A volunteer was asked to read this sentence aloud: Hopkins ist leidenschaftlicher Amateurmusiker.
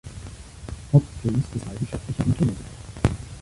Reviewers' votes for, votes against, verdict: 0, 2, rejected